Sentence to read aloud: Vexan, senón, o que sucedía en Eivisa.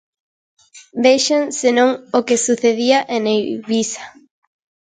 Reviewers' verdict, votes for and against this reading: accepted, 2, 0